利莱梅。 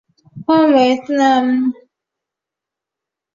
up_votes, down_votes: 0, 4